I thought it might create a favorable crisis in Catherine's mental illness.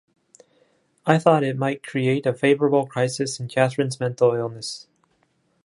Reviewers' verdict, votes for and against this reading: accepted, 2, 0